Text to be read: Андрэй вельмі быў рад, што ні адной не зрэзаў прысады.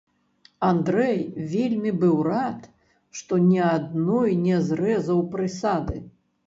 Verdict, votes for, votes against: rejected, 0, 3